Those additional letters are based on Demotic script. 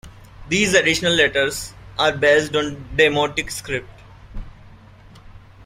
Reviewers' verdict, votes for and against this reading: rejected, 0, 2